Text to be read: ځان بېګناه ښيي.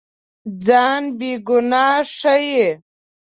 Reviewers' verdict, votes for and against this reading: accepted, 2, 0